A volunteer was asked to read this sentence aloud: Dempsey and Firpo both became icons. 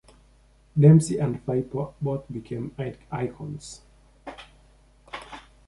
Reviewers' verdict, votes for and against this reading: accepted, 2, 0